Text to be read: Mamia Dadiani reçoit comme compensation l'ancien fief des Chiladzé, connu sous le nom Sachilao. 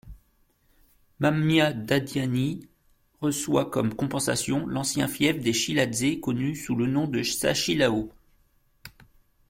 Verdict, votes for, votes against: rejected, 1, 2